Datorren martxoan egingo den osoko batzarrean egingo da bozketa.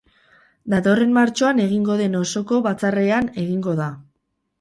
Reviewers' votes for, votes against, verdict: 4, 4, rejected